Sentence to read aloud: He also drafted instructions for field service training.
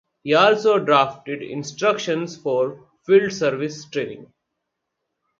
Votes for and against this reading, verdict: 4, 0, accepted